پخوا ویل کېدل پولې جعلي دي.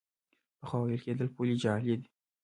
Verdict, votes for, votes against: rejected, 1, 2